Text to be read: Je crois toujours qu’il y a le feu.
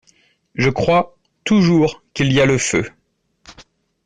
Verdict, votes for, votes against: accepted, 2, 0